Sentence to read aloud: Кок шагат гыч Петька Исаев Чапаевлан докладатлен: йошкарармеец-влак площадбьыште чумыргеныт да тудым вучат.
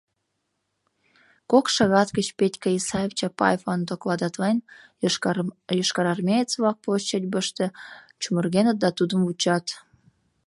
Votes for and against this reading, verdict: 0, 2, rejected